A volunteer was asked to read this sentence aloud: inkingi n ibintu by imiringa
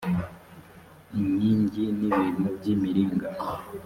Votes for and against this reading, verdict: 2, 0, accepted